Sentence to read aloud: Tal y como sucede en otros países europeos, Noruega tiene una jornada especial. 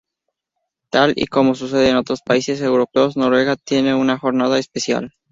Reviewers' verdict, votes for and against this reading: rejected, 0, 2